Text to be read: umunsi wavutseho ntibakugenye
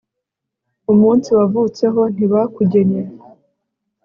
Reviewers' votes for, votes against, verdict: 2, 0, accepted